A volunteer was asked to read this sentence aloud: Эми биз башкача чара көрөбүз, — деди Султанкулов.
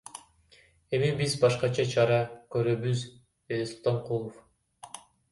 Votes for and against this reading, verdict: 2, 1, accepted